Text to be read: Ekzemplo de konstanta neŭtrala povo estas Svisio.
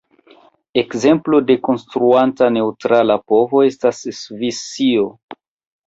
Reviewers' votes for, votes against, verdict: 1, 2, rejected